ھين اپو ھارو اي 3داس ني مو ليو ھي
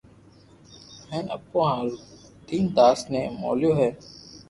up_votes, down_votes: 0, 2